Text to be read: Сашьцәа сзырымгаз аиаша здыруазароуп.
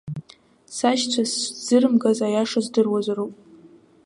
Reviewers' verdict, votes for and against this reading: rejected, 1, 2